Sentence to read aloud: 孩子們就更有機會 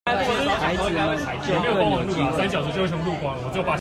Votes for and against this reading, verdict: 0, 2, rejected